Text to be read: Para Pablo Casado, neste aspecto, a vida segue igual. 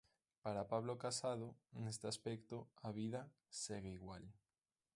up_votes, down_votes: 2, 1